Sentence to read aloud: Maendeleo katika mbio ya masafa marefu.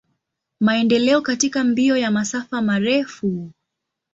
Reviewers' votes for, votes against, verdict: 2, 0, accepted